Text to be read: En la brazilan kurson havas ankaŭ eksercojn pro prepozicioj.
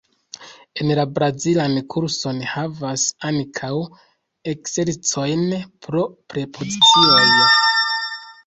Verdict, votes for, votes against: rejected, 1, 2